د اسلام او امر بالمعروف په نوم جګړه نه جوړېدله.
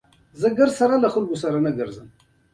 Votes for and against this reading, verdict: 2, 1, accepted